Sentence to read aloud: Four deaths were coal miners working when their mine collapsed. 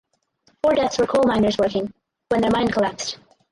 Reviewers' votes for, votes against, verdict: 0, 4, rejected